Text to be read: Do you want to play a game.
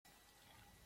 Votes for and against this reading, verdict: 0, 2, rejected